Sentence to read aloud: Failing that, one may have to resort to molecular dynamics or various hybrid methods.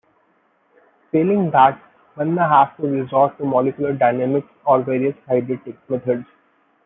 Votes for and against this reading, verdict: 0, 2, rejected